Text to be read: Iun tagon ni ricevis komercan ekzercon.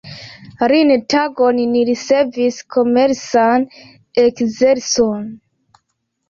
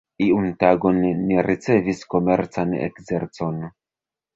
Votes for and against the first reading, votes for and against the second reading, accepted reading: 2, 1, 1, 2, first